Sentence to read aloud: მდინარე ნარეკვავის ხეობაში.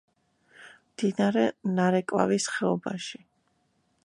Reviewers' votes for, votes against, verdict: 1, 2, rejected